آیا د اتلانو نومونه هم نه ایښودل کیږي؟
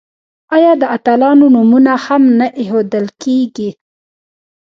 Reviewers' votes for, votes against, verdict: 1, 2, rejected